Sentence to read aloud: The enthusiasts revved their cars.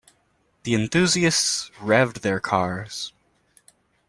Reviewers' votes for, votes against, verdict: 2, 0, accepted